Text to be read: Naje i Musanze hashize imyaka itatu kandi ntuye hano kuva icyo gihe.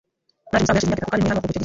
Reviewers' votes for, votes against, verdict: 0, 2, rejected